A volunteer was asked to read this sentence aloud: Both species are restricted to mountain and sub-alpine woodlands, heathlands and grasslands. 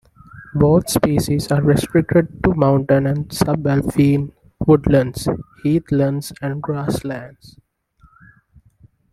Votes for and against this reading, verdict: 2, 0, accepted